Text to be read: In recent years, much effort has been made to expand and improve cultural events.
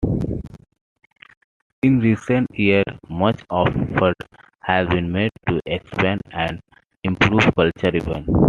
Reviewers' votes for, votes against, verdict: 1, 2, rejected